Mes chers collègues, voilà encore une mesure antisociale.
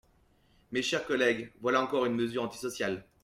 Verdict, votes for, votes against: accepted, 2, 0